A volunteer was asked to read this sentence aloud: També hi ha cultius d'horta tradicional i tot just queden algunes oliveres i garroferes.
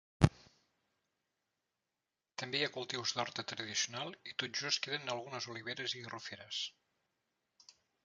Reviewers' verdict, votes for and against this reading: rejected, 0, 2